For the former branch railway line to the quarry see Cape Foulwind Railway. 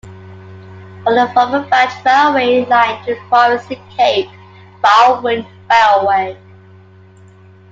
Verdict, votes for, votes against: rejected, 0, 2